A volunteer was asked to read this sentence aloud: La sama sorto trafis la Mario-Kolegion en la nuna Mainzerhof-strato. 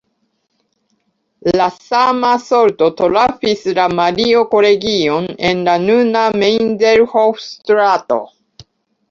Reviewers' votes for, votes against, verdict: 0, 2, rejected